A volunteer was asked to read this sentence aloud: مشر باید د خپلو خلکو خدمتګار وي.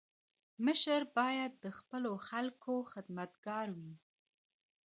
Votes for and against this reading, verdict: 1, 2, rejected